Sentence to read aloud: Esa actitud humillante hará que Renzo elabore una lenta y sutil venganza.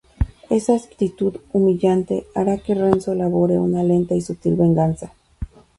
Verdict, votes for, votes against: rejected, 0, 2